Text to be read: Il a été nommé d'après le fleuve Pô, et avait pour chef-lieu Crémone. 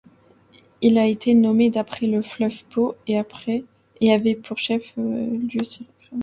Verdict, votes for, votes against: rejected, 1, 2